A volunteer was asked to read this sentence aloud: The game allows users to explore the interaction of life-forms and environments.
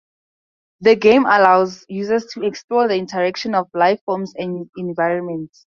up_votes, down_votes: 2, 0